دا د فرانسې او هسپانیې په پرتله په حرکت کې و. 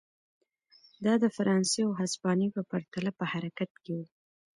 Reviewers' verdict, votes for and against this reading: accepted, 2, 0